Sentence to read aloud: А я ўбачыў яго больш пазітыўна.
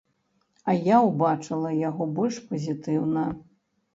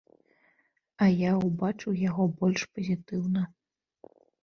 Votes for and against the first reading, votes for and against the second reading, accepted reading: 0, 2, 2, 0, second